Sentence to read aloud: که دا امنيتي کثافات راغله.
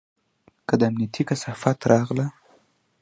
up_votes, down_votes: 1, 2